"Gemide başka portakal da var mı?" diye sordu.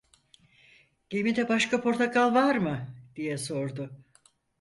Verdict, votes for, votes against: rejected, 0, 4